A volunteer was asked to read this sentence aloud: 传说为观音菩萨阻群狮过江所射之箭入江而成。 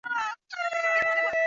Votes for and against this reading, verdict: 0, 2, rejected